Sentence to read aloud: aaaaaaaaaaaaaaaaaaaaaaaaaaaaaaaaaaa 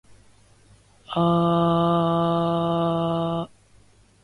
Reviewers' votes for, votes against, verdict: 0, 2, rejected